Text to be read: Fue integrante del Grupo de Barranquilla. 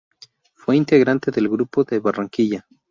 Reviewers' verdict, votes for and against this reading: rejected, 2, 2